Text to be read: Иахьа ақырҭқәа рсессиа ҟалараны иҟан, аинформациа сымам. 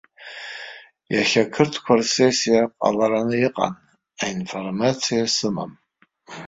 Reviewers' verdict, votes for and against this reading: rejected, 1, 2